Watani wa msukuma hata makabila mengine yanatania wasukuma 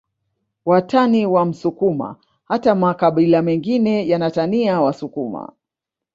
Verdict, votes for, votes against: rejected, 1, 2